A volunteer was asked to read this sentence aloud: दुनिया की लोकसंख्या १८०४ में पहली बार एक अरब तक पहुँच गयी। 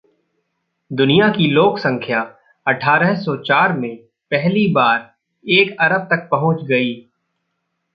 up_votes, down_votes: 0, 2